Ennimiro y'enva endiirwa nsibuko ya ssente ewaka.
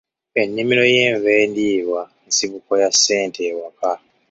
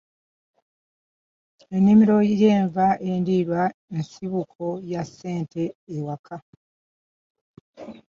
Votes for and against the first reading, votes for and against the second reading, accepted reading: 2, 0, 1, 2, first